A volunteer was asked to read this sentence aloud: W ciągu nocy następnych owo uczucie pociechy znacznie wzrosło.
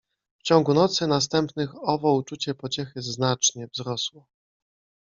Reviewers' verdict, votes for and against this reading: accepted, 2, 0